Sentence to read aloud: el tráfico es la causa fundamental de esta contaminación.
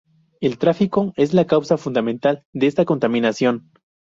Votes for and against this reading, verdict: 2, 0, accepted